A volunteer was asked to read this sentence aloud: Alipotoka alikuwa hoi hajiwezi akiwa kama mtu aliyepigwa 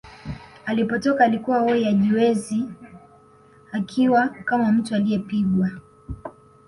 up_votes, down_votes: 2, 0